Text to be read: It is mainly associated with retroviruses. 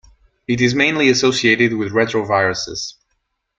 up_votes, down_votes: 2, 0